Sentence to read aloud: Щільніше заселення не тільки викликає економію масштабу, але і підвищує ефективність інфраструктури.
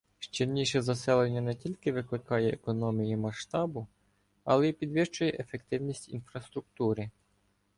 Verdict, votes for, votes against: accepted, 2, 0